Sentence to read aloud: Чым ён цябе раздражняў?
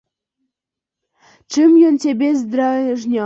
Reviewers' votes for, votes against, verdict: 0, 2, rejected